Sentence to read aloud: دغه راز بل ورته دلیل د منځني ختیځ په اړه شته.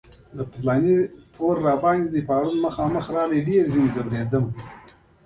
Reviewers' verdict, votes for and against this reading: rejected, 0, 2